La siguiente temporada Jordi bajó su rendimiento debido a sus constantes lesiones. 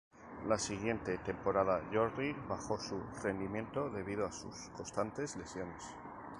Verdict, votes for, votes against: accepted, 2, 0